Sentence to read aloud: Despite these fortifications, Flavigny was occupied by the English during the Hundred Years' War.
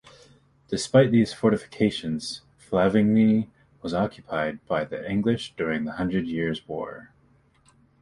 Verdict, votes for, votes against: accepted, 2, 0